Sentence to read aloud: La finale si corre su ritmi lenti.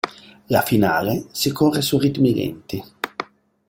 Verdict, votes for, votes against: rejected, 1, 2